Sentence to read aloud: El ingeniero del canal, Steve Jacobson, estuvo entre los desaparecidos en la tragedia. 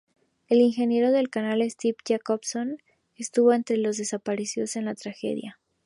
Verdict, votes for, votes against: accepted, 2, 0